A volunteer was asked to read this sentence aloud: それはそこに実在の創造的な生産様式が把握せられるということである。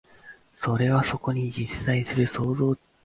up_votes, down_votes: 0, 2